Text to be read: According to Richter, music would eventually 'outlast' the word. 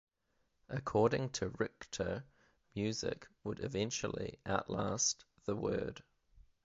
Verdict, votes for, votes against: accepted, 2, 0